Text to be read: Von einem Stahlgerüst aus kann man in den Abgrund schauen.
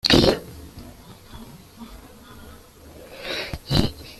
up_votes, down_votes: 0, 2